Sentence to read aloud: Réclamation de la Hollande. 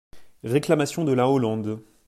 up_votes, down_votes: 2, 0